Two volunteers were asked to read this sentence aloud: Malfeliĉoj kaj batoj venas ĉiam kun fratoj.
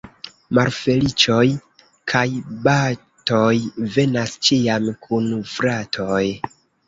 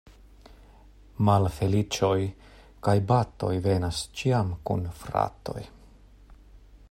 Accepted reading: second